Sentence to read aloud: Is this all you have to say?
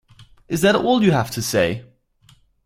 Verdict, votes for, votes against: rejected, 0, 4